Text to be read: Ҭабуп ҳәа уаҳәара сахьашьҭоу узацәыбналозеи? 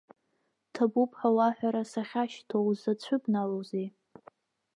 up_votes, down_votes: 0, 2